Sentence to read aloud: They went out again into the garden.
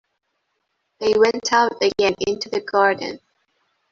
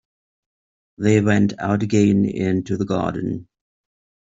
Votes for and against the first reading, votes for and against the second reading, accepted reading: 1, 2, 2, 0, second